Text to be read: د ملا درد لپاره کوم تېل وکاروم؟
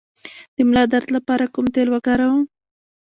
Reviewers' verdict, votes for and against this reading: rejected, 0, 2